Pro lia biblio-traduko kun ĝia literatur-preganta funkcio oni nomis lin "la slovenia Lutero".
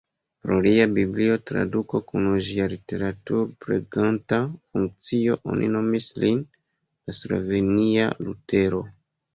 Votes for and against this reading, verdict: 0, 2, rejected